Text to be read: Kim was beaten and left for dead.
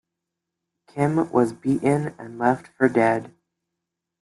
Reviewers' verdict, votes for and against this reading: accepted, 3, 0